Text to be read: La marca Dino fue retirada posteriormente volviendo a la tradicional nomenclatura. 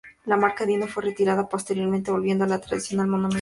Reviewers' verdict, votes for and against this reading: rejected, 0, 2